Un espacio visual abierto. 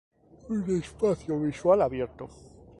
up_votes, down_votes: 0, 2